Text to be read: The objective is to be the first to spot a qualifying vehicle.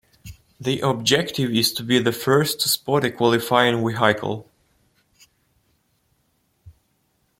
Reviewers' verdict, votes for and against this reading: rejected, 1, 2